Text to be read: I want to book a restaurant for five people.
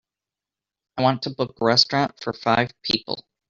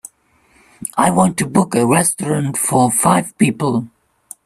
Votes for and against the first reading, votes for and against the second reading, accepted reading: 1, 2, 2, 0, second